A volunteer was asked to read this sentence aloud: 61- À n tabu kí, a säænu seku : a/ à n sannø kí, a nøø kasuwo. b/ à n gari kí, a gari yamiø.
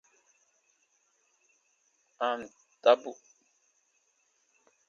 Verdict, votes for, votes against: rejected, 0, 2